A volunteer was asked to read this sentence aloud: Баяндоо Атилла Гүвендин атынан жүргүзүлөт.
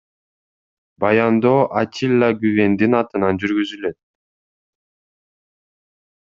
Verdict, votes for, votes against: accepted, 2, 0